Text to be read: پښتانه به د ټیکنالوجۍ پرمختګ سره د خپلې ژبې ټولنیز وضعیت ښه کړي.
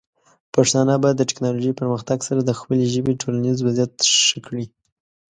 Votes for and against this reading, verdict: 2, 0, accepted